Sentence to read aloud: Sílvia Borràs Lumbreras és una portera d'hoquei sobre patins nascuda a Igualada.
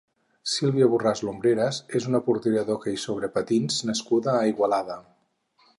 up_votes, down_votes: 4, 0